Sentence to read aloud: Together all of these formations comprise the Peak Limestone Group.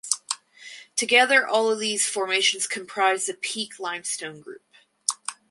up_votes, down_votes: 4, 0